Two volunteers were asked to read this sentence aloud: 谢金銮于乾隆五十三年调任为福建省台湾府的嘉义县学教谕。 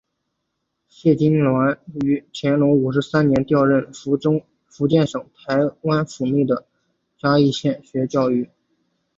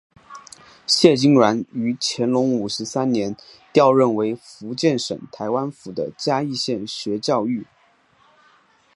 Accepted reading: second